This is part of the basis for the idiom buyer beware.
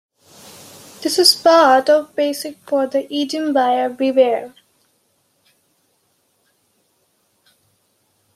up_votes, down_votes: 0, 2